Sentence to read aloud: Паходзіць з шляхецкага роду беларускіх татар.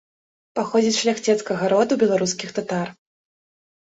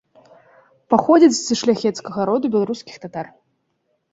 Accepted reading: second